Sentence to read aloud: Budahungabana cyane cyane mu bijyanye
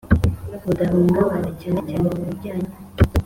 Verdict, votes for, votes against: accepted, 3, 0